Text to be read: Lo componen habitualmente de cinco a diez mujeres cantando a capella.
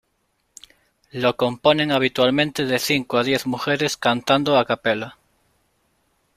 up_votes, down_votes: 2, 0